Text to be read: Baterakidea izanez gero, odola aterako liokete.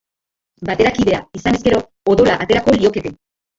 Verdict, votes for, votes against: rejected, 0, 2